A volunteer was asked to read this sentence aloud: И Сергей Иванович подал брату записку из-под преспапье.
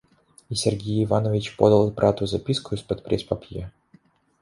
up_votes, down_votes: 2, 0